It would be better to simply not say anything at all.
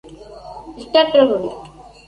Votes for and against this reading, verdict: 0, 2, rejected